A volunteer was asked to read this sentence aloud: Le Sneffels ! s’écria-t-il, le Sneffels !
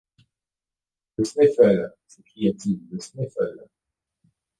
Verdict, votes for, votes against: rejected, 1, 2